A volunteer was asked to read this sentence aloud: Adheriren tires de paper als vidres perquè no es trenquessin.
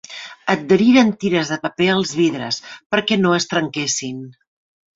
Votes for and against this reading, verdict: 2, 0, accepted